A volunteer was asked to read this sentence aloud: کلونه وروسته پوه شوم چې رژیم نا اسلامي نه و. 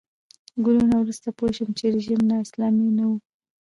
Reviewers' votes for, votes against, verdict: 2, 0, accepted